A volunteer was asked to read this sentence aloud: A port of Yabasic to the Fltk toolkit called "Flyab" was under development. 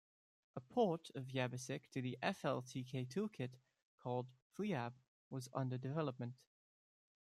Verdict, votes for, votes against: rejected, 1, 2